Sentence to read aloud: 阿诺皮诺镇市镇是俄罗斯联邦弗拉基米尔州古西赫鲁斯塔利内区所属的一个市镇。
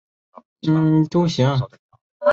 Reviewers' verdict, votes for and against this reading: rejected, 2, 4